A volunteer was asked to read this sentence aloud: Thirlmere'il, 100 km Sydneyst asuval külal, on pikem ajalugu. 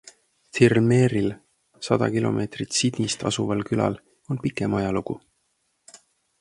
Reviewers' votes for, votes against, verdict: 0, 2, rejected